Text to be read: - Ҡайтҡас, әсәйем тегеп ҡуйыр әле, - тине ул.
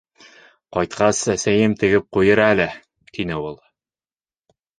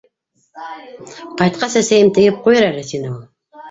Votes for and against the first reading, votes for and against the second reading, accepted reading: 2, 0, 0, 2, first